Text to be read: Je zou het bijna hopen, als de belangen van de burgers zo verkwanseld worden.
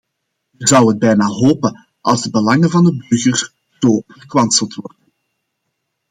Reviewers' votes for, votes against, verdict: 1, 2, rejected